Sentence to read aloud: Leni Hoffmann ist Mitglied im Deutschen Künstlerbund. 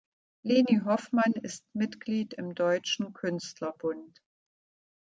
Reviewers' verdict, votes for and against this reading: accepted, 2, 0